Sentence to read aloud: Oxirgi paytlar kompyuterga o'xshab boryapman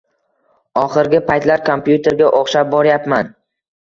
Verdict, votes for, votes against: accepted, 2, 0